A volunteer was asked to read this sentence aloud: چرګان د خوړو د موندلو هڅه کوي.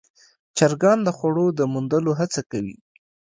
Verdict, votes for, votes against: accepted, 2, 0